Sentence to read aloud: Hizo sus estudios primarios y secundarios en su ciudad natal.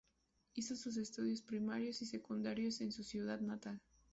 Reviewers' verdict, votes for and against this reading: rejected, 0, 2